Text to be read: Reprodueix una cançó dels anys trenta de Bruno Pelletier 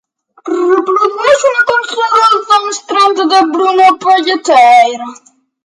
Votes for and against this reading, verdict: 0, 2, rejected